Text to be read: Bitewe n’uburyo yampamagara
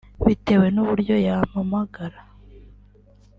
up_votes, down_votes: 2, 0